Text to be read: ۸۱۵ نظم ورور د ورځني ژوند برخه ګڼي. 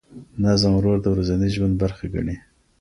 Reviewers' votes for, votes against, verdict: 0, 2, rejected